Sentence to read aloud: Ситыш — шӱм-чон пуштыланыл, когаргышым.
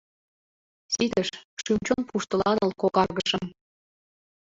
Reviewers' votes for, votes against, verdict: 1, 3, rejected